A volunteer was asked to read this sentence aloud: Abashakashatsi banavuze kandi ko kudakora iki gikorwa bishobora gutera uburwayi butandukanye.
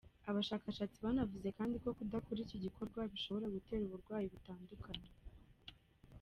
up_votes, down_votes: 2, 1